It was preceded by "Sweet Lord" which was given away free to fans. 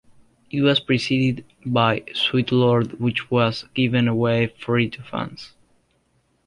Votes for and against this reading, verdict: 2, 0, accepted